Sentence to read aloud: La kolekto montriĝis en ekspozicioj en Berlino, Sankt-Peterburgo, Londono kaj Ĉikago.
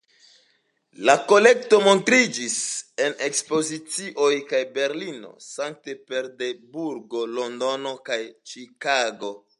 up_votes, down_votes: 1, 2